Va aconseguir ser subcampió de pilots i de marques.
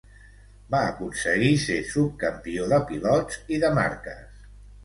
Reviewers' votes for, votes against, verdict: 2, 1, accepted